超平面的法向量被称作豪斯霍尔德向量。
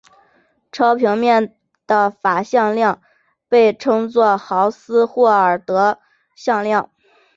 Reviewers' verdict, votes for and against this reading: accepted, 2, 1